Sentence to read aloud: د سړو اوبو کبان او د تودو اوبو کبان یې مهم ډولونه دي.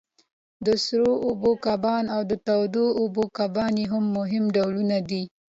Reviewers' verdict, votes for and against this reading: accepted, 2, 0